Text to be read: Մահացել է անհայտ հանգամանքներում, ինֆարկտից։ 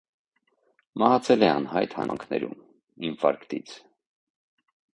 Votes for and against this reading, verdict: 1, 2, rejected